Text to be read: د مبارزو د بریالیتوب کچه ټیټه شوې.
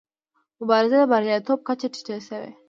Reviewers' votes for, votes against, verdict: 0, 2, rejected